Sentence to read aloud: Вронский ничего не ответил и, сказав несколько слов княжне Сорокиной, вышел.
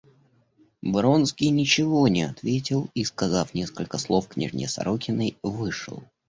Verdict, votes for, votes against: accepted, 2, 0